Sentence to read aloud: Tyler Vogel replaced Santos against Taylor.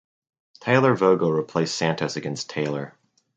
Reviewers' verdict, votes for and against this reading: accepted, 4, 2